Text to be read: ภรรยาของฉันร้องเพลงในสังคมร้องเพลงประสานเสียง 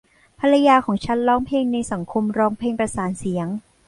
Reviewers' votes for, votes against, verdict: 1, 2, rejected